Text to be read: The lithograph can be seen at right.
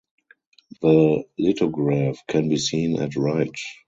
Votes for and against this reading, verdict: 4, 0, accepted